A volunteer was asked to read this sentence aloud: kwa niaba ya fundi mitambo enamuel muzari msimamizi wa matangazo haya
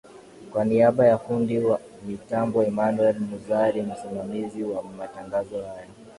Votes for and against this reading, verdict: 2, 1, accepted